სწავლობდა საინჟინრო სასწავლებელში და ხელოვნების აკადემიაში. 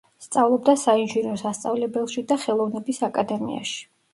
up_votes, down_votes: 2, 0